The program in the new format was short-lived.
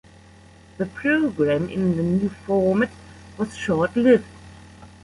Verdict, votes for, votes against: rejected, 0, 2